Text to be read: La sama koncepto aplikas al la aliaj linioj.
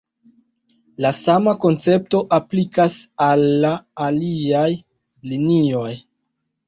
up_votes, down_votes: 2, 0